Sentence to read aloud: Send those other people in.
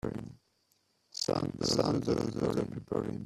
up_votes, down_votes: 0, 2